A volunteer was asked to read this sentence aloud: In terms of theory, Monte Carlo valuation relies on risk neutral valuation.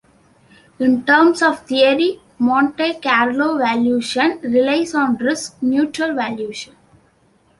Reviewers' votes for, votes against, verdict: 2, 0, accepted